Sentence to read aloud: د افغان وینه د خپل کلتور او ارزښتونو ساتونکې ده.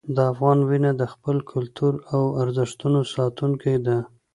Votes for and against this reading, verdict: 2, 0, accepted